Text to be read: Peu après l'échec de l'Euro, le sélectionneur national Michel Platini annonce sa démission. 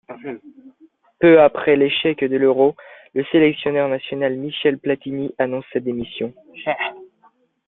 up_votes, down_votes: 2, 0